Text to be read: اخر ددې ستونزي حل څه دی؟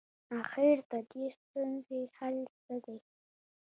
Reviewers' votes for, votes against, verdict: 1, 2, rejected